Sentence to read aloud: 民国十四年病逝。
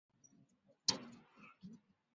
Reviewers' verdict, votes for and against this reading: rejected, 0, 2